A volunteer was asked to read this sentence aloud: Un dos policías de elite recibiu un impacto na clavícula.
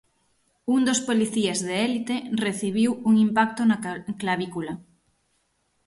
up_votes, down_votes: 0, 6